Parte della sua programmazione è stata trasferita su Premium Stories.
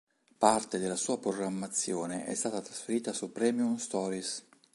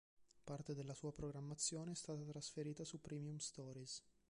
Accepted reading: first